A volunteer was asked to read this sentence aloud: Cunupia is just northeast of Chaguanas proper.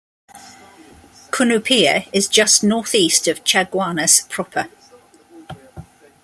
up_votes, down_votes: 2, 0